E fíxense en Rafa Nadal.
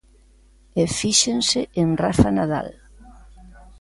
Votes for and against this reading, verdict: 2, 1, accepted